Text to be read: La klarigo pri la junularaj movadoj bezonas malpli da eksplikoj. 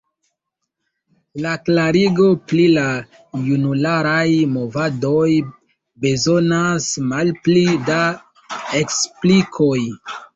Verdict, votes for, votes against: accepted, 2, 0